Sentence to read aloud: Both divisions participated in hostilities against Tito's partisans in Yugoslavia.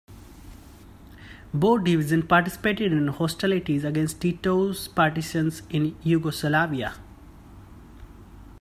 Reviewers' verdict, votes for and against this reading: rejected, 1, 2